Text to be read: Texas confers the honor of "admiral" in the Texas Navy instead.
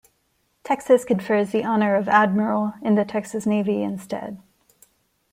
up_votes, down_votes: 2, 0